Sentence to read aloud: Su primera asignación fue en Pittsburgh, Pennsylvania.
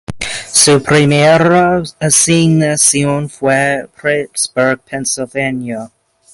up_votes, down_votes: 2, 0